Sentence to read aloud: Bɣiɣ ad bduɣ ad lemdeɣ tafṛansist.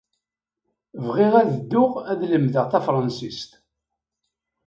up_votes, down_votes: 1, 2